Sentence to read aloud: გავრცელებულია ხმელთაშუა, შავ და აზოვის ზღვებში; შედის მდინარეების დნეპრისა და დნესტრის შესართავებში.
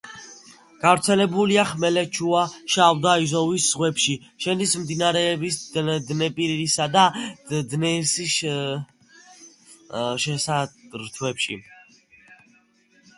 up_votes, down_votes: 0, 2